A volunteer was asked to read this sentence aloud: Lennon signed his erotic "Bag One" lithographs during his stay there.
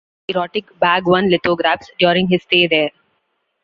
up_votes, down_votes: 0, 2